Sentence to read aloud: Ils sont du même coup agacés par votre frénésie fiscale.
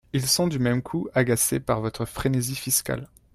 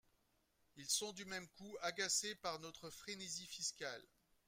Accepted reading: first